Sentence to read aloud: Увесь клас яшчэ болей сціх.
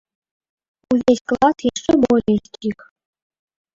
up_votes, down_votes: 1, 2